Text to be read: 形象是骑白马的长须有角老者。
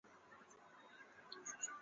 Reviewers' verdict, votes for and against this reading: rejected, 3, 5